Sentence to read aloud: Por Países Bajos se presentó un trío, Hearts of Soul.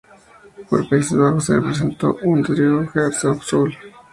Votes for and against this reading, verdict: 2, 2, rejected